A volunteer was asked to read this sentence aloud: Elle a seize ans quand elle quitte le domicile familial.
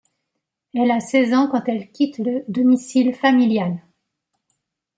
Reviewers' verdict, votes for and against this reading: rejected, 1, 2